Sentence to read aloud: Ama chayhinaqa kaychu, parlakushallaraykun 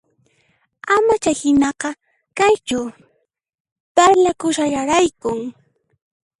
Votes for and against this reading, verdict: 2, 1, accepted